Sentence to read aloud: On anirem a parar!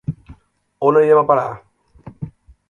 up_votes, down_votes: 1, 2